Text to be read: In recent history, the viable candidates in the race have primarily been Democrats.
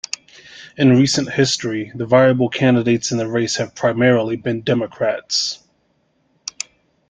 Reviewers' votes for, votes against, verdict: 2, 0, accepted